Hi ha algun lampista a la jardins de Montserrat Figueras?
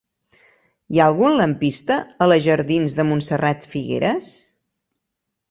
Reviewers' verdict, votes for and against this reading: accepted, 3, 0